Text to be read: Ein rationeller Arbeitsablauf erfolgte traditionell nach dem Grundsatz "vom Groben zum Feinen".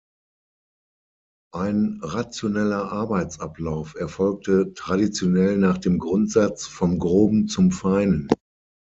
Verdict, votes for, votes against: accepted, 6, 0